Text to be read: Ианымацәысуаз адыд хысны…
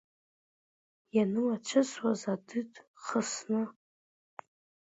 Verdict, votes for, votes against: rejected, 0, 2